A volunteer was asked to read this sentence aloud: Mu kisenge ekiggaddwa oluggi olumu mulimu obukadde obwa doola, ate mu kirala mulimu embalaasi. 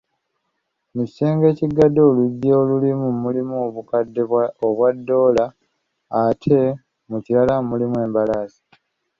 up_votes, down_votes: 2, 0